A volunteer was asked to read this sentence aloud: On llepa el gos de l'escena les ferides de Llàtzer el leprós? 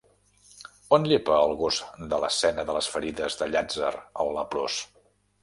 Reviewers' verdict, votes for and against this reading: rejected, 0, 2